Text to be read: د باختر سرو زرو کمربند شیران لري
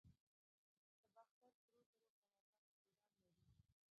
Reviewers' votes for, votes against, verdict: 1, 2, rejected